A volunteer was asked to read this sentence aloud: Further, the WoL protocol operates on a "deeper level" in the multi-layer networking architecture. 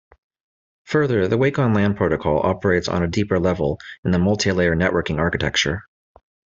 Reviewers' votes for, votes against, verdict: 1, 2, rejected